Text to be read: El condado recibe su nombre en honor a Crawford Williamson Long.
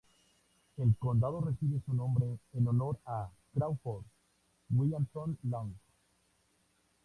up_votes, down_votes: 2, 0